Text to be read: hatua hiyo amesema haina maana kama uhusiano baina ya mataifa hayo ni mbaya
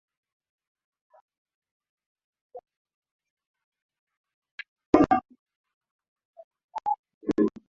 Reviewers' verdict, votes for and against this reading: rejected, 0, 2